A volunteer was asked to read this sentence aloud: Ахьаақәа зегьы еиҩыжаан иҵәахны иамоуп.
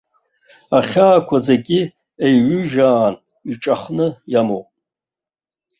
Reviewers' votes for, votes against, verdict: 0, 2, rejected